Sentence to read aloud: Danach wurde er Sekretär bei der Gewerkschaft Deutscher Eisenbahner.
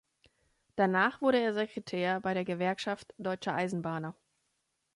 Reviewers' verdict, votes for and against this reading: accepted, 2, 0